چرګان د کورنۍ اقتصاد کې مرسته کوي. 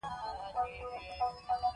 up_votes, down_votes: 0, 3